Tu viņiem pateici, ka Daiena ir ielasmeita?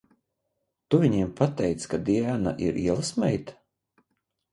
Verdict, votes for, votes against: rejected, 0, 2